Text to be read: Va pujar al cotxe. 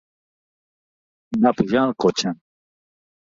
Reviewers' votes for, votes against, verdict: 1, 2, rejected